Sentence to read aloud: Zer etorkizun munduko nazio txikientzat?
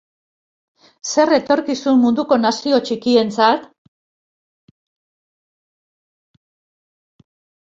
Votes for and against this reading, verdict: 2, 2, rejected